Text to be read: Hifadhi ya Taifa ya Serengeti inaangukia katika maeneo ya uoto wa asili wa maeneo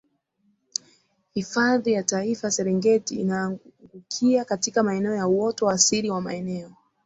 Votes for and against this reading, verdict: 3, 1, accepted